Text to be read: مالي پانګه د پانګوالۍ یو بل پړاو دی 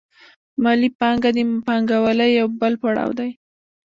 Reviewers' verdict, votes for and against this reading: rejected, 0, 2